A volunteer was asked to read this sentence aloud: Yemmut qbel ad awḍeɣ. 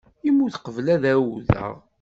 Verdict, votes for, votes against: rejected, 1, 2